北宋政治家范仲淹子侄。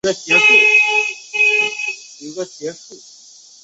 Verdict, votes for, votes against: rejected, 0, 2